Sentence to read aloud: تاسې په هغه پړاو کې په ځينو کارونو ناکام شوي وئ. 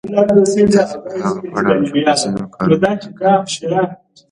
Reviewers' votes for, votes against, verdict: 1, 2, rejected